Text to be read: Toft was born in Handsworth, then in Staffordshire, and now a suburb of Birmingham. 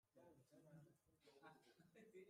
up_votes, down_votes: 0, 2